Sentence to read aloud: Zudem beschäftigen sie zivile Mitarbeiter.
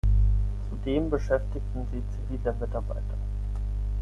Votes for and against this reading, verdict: 3, 6, rejected